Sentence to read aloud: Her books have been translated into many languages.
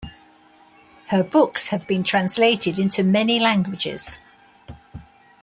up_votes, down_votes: 2, 1